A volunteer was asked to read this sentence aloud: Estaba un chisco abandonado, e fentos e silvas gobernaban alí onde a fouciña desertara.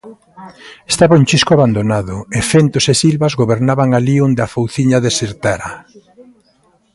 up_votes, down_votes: 1, 2